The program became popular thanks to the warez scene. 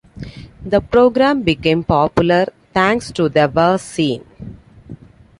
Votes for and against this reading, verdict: 2, 0, accepted